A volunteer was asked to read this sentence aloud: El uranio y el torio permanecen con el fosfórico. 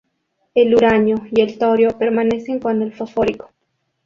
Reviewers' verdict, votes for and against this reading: accepted, 2, 0